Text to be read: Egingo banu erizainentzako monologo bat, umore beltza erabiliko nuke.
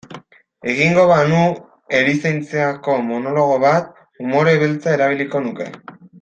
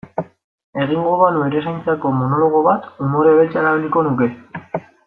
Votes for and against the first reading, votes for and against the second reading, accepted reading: 1, 2, 2, 0, second